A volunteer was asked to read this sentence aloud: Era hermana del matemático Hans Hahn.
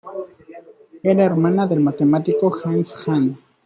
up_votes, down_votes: 2, 0